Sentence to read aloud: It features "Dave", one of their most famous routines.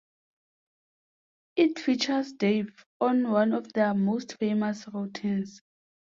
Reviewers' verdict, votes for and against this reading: rejected, 0, 2